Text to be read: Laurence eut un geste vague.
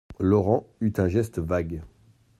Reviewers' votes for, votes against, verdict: 0, 2, rejected